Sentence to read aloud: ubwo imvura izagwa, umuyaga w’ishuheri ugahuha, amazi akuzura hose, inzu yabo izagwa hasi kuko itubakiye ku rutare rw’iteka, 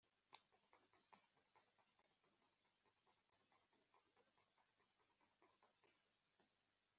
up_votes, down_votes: 0, 2